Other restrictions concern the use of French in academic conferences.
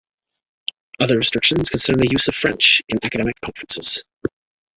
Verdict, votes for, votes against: rejected, 0, 2